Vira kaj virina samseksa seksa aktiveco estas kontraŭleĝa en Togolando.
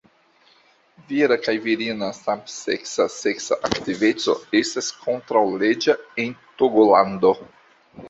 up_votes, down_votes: 2, 0